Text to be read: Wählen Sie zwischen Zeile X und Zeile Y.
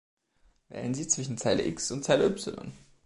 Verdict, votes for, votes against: accepted, 2, 0